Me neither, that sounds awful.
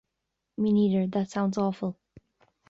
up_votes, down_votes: 2, 0